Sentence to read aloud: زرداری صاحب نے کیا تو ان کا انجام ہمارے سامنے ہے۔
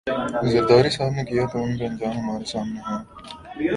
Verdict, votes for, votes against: accepted, 3, 0